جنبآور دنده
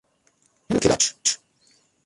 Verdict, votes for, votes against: rejected, 0, 2